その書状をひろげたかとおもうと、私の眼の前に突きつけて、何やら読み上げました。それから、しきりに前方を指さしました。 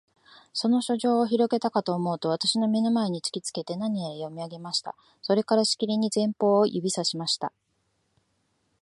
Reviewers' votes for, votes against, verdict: 2, 0, accepted